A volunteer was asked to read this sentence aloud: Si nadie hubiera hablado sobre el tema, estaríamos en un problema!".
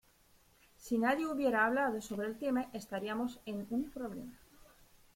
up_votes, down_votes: 0, 2